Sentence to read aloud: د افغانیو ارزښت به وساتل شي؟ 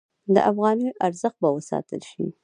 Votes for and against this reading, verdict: 1, 2, rejected